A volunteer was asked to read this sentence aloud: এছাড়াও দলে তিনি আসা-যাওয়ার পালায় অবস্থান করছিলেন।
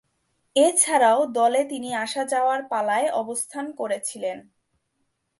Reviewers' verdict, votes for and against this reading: rejected, 2, 2